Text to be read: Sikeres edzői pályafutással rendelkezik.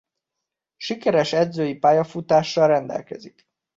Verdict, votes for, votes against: accepted, 2, 0